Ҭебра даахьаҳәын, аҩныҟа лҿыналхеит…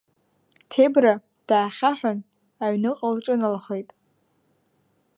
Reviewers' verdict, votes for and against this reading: accepted, 2, 0